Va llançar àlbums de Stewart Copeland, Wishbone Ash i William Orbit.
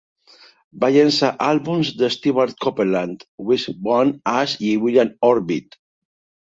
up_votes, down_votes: 2, 1